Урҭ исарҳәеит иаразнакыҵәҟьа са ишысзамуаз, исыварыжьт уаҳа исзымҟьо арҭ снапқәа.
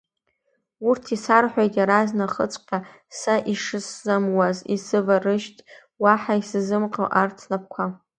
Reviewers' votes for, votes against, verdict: 1, 2, rejected